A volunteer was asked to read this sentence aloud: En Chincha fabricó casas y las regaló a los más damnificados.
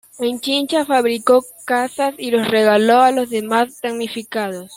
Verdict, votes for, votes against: rejected, 0, 2